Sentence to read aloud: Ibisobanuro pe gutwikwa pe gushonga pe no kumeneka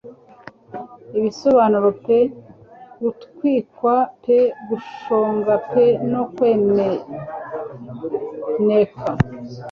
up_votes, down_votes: 0, 2